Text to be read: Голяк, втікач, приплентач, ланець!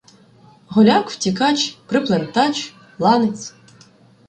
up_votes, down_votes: 1, 2